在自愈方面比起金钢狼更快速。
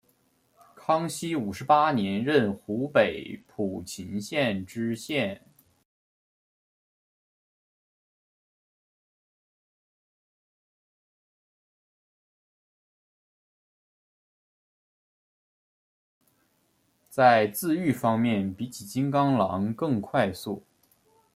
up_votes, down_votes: 0, 2